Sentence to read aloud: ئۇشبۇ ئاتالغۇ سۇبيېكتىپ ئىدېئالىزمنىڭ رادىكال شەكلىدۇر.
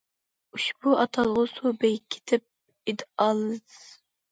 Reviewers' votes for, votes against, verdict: 0, 2, rejected